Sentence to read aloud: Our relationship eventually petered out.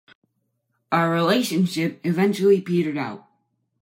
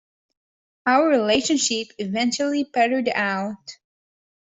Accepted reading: first